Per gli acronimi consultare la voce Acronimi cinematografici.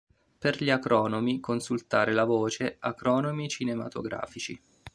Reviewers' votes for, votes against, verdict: 0, 2, rejected